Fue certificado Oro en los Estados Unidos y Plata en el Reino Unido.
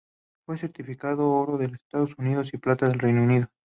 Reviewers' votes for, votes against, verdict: 2, 2, rejected